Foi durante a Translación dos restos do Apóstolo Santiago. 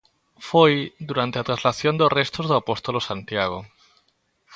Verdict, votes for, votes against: accepted, 2, 0